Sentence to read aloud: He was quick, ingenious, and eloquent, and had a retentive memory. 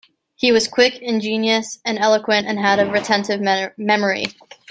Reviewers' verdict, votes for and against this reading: rejected, 1, 2